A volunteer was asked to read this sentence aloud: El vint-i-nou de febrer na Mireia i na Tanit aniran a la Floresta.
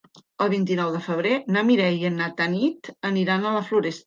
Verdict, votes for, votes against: rejected, 0, 2